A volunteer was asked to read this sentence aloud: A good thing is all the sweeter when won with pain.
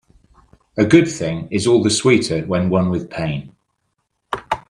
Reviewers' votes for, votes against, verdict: 2, 0, accepted